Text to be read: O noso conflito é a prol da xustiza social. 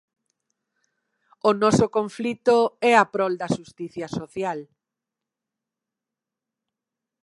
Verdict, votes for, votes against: rejected, 0, 2